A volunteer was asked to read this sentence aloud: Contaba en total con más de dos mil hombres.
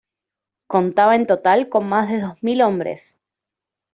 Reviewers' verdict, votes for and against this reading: accepted, 2, 0